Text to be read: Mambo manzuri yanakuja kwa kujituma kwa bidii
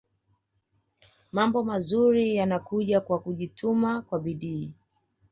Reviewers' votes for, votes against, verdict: 2, 0, accepted